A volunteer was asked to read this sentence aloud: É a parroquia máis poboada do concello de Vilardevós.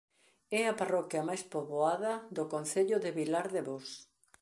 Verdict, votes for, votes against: accepted, 2, 0